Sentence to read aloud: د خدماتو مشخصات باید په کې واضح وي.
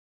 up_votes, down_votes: 0, 2